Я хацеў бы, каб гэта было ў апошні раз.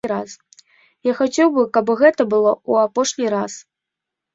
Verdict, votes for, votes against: rejected, 1, 2